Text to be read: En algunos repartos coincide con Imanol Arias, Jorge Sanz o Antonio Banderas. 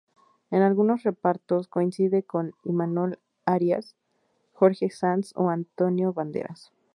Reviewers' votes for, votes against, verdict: 2, 0, accepted